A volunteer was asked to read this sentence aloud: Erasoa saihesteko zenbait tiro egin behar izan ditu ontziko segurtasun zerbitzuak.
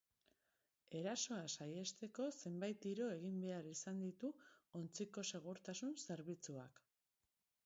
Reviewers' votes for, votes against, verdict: 2, 0, accepted